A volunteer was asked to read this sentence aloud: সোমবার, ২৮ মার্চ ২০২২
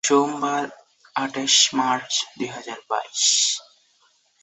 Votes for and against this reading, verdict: 0, 2, rejected